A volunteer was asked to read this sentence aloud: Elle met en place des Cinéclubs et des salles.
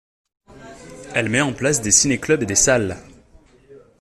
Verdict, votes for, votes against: accepted, 2, 0